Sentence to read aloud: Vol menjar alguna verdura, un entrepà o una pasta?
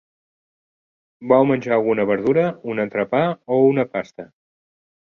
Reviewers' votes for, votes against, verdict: 2, 0, accepted